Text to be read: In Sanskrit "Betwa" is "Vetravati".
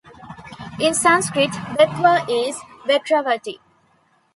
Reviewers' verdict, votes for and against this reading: accepted, 2, 0